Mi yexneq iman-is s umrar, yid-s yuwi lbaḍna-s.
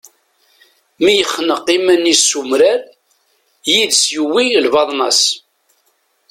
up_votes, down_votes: 2, 1